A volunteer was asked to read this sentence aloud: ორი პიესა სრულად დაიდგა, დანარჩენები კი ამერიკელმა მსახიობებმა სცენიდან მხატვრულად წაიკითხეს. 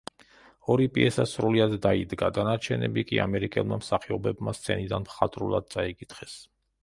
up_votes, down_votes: 0, 2